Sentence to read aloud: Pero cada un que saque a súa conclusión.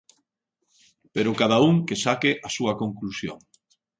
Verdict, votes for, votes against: accepted, 2, 0